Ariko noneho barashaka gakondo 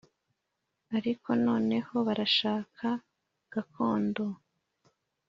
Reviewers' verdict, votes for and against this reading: accepted, 2, 0